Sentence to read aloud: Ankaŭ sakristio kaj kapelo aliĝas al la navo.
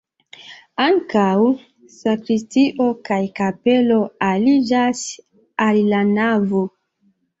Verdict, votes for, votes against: rejected, 1, 2